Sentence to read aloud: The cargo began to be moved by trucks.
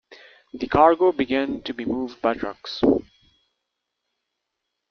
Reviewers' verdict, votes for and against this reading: accepted, 2, 0